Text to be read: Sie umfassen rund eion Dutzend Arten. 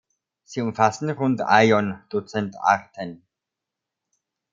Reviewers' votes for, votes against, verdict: 2, 0, accepted